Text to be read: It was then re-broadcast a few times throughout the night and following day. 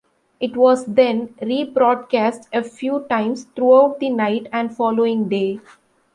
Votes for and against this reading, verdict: 2, 0, accepted